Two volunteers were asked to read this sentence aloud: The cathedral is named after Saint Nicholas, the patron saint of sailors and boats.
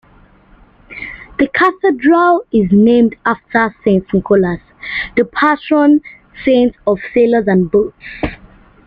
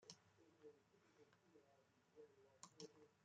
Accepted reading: first